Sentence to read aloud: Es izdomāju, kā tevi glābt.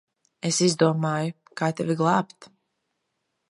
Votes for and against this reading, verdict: 2, 0, accepted